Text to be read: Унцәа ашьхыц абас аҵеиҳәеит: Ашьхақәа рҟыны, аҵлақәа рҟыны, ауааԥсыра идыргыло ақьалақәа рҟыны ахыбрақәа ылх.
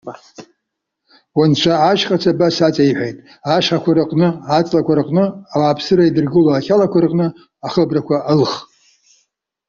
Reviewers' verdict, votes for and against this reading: rejected, 0, 2